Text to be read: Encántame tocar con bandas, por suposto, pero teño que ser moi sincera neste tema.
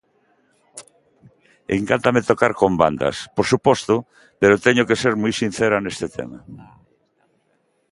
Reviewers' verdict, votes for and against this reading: accepted, 2, 1